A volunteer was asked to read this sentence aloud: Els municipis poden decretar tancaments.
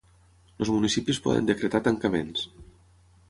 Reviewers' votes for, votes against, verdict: 3, 3, rejected